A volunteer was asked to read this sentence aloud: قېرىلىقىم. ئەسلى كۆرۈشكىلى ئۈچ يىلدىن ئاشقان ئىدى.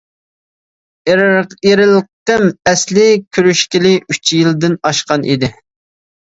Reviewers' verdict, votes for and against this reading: rejected, 0, 2